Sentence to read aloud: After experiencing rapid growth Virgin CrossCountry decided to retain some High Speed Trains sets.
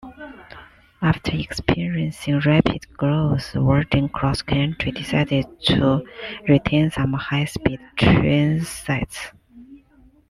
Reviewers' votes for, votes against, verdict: 1, 2, rejected